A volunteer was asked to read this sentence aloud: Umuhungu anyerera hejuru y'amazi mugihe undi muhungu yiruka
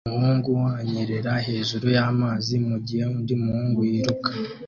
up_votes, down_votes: 2, 0